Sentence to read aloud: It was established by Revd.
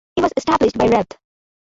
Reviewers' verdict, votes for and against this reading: accepted, 2, 0